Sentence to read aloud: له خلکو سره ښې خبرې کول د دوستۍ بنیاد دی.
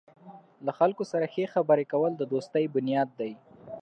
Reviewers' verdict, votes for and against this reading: accepted, 3, 0